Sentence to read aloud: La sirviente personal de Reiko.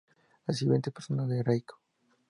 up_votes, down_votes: 2, 0